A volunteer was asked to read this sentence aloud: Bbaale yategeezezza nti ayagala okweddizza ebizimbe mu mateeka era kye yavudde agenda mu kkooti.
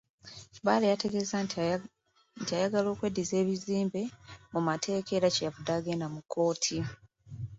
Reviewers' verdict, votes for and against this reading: rejected, 1, 2